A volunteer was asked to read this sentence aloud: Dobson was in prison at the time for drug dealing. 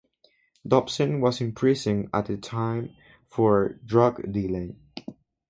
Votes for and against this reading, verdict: 0, 2, rejected